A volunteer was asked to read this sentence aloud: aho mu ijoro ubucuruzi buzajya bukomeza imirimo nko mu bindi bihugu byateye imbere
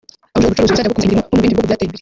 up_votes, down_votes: 0, 2